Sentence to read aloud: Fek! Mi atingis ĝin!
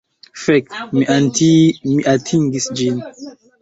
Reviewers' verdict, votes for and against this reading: rejected, 0, 2